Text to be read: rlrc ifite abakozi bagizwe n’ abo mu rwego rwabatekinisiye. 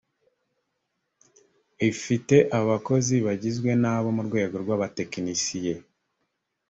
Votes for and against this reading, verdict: 1, 2, rejected